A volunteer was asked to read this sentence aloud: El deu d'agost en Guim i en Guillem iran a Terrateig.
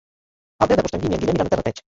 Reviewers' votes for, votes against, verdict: 0, 2, rejected